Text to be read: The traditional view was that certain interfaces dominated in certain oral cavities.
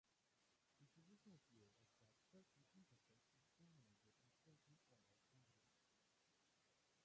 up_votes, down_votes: 0, 2